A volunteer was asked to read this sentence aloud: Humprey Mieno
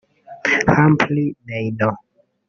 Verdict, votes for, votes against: rejected, 0, 2